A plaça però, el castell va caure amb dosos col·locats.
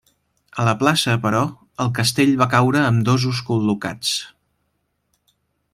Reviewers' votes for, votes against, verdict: 2, 3, rejected